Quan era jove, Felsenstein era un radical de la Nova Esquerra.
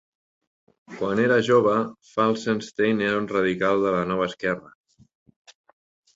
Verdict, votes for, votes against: accepted, 3, 0